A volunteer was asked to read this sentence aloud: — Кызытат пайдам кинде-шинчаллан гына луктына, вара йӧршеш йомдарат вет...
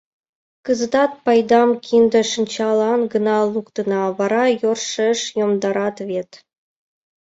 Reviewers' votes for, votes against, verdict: 2, 1, accepted